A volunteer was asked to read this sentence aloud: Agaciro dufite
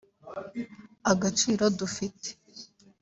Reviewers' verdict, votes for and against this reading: accepted, 2, 0